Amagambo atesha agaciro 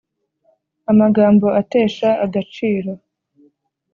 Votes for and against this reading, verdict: 2, 0, accepted